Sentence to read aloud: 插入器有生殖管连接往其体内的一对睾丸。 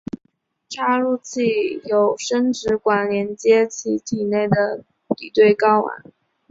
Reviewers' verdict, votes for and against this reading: rejected, 1, 2